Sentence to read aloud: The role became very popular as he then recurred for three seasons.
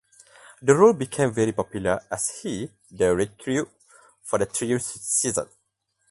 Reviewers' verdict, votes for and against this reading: rejected, 0, 4